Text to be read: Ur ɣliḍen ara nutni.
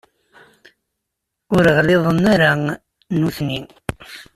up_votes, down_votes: 2, 0